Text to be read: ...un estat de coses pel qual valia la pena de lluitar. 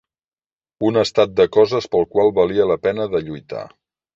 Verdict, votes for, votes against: accepted, 4, 0